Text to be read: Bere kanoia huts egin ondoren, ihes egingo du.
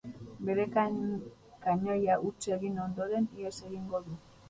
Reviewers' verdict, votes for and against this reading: rejected, 0, 6